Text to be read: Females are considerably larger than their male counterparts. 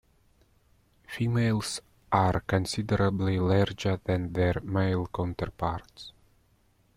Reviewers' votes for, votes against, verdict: 2, 1, accepted